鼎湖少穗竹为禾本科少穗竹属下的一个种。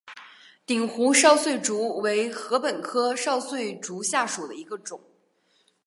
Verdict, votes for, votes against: accepted, 4, 1